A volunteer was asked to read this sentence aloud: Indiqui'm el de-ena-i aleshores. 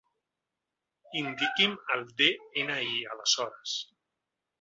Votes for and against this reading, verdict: 2, 0, accepted